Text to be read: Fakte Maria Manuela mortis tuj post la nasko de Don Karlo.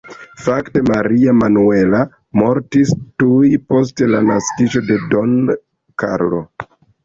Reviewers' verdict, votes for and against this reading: rejected, 1, 2